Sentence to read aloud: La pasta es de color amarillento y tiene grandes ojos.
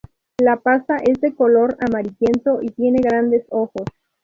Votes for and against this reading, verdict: 0, 2, rejected